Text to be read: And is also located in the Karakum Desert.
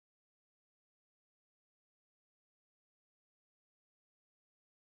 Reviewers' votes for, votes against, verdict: 0, 2, rejected